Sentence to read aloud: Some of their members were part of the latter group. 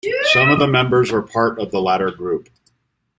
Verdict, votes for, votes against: accepted, 2, 1